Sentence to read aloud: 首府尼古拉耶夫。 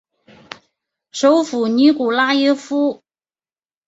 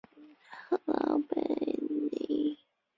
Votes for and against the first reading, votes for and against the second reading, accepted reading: 4, 0, 0, 2, first